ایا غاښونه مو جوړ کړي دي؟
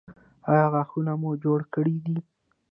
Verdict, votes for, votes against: accepted, 2, 0